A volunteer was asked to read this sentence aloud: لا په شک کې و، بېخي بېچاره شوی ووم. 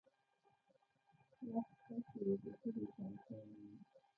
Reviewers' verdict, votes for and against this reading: rejected, 1, 2